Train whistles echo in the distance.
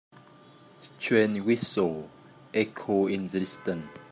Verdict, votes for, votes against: rejected, 1, 3